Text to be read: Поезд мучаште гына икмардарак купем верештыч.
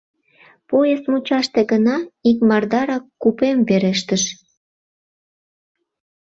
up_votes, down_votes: 0, 2